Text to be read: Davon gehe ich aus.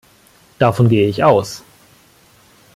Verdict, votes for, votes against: accepted, 2, 1